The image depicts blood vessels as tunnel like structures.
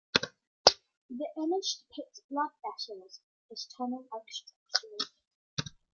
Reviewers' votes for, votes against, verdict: 0, 2, rejected